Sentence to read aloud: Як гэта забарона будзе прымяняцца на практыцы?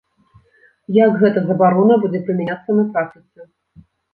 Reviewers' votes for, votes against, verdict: 2, 0, accepted